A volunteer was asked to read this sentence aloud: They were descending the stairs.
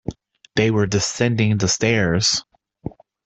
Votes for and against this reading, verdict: 2, 1, accepted